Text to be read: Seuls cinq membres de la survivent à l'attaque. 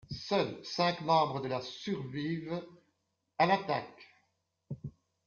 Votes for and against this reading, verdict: 2, 0, accepted